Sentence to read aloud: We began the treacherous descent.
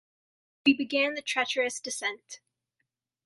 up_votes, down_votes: 2, 0